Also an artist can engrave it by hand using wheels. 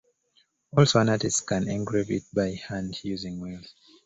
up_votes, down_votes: 2, 0